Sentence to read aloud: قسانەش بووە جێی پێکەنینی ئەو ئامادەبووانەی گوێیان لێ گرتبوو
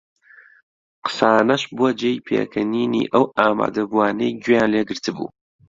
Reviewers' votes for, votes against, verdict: 2, 0, accepted